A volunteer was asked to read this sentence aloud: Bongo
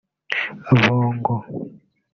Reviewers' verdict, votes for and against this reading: rejected, 1, 2